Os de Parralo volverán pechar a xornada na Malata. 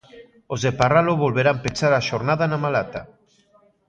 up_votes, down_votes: 2, 0